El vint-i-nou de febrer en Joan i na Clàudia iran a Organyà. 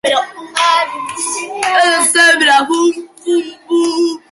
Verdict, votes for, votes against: rejected, 0, 2